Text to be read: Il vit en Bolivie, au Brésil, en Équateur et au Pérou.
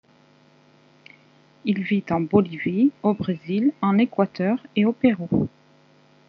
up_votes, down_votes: 0, 2